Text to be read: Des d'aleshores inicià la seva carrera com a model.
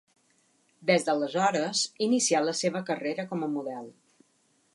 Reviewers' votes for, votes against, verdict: 2, 0, accepted